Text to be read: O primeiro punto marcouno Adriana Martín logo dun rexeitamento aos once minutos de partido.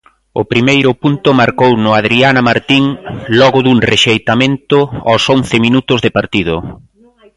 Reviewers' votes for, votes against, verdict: 2, 0, accepted